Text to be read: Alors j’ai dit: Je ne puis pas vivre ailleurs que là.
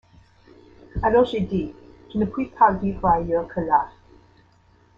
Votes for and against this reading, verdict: 2, 1, accepted